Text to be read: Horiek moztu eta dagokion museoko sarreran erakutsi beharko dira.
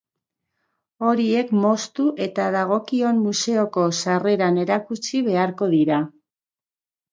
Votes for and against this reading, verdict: 2, 0, accepted